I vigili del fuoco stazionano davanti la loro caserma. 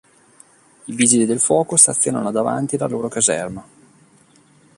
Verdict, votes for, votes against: accepted, 2, 0